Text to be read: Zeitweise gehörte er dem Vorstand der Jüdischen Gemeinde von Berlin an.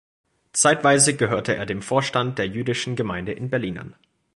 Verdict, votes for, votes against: rejected, 0, 2